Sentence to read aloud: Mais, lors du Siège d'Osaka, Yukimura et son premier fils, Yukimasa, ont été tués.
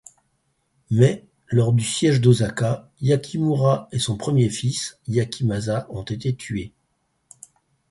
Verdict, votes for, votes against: rejected, 2, 4